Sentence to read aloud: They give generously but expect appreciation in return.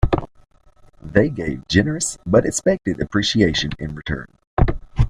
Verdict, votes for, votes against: rejected, 0, 2